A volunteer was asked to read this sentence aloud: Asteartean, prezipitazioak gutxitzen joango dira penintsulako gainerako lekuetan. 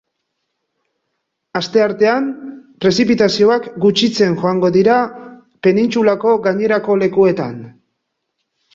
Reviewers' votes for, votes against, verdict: 2, 0, accepted